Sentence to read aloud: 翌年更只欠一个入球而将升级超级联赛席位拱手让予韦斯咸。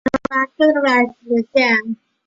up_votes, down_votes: 0, 3